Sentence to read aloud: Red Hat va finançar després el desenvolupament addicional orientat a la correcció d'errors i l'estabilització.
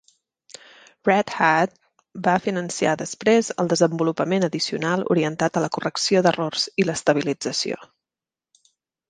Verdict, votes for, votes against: rejected, 1, 2